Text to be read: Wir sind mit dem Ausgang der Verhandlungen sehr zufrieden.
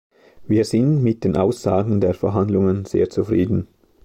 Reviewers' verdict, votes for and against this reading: rejected, 2, 3